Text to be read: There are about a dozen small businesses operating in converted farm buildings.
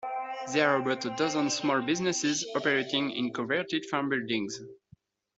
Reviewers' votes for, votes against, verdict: 2, 0, accepted